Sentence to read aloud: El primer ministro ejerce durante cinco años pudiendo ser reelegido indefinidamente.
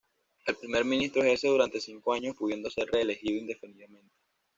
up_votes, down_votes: 1, 2